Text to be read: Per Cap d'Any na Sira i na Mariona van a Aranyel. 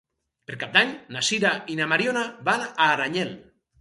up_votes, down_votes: 4, 0